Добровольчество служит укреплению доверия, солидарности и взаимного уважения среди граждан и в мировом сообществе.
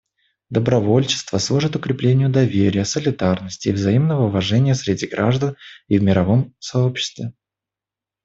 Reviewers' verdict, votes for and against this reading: accepted, 2, 0